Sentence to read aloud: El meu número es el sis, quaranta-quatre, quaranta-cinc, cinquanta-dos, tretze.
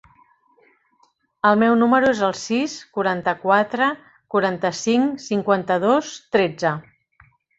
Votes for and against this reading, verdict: 3, 0, accepted